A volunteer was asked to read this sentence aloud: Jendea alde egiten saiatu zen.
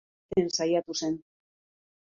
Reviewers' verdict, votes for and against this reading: rejected, 0, 2